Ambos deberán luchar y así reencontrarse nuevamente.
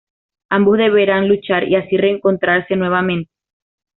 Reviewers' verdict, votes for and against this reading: accepted, 2, 0